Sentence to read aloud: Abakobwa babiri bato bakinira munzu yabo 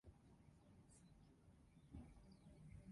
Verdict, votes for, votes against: rejected, 0, 2